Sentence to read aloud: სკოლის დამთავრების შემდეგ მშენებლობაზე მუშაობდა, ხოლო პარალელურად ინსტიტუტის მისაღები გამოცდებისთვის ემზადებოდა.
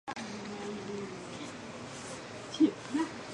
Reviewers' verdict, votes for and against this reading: rejected, 1, 2